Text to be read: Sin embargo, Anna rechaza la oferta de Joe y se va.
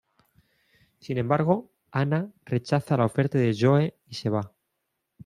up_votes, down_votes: 2, 0